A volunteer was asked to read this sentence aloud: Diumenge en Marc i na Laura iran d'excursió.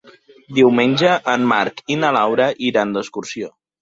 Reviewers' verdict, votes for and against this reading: accepted, 3, 1